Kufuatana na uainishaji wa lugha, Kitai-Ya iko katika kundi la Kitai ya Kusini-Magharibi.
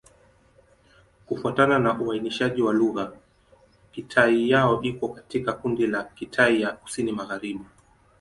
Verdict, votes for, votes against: rejected, 1, 2